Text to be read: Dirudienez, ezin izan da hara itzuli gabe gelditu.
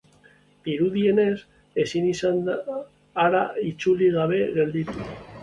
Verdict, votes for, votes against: accepted, 2, 1